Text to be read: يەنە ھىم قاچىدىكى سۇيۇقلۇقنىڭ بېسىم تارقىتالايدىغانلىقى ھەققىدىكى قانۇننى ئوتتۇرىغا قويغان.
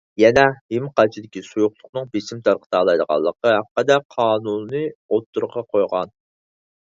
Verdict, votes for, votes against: rejected, 2, 4